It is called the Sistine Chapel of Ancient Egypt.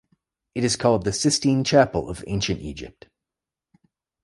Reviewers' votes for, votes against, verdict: 2, 0, accepted